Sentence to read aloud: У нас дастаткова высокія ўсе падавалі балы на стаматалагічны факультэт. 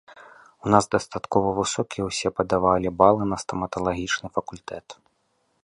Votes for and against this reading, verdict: 2, 0, accepted